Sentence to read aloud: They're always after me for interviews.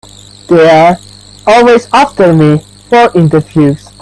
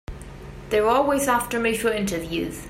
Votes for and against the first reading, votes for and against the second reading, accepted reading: 1, 2, 3, 1, second